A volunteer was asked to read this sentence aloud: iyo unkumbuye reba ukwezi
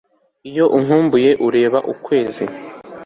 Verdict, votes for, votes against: rejected, 1, 2